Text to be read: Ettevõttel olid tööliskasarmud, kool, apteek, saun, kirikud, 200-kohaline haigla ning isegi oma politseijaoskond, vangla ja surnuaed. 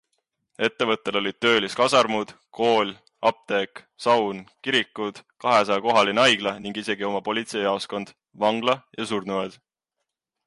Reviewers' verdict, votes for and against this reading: rejected, 0, 2